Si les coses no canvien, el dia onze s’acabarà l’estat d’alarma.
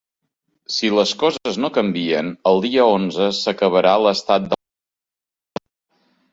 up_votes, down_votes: 0, 2